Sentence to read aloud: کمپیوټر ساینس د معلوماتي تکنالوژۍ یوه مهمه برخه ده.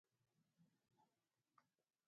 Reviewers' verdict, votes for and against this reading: accepted, 2, 1